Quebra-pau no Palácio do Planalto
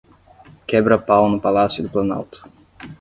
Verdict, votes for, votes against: accepted, 10, 0